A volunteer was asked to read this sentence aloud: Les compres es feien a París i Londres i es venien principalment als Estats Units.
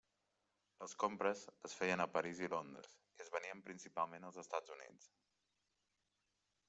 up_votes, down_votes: 0, 2